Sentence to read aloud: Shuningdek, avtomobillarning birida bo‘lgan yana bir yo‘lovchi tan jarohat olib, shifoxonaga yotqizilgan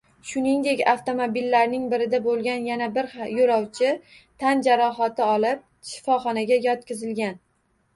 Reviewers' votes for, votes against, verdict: 1, 2, rejected